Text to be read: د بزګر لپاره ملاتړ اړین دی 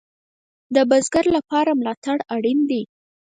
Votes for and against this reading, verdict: 4, 0, accepted